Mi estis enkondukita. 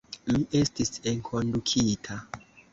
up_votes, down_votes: 2, 1